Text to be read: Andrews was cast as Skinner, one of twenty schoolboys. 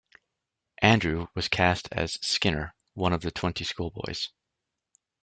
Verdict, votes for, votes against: rejected, 1, 2